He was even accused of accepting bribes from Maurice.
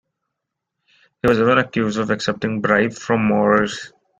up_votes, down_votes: 0, 2